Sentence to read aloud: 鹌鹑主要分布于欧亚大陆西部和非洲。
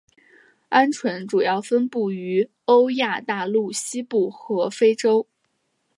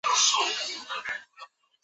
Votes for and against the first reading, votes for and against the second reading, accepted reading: 4, 1, 0, 2, first